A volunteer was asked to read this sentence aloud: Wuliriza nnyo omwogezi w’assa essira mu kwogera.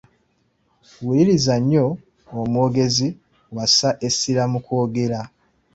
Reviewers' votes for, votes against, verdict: 2, 0, accepted